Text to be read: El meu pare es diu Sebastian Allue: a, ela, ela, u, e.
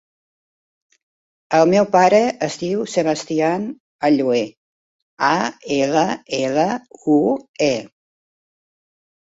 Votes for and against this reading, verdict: 2, 0, accepted